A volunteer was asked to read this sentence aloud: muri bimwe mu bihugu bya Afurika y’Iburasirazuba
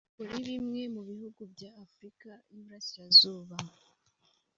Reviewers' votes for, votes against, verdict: 2, 1, accepted